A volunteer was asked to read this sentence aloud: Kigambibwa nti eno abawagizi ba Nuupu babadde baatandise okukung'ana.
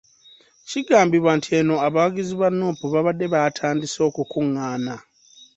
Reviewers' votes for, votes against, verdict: 2, 0, accepted